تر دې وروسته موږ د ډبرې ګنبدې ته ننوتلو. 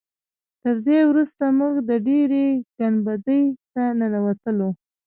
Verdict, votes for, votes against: accepted, 2, 0